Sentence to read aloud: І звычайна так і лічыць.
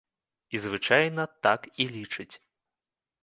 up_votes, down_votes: 2, 0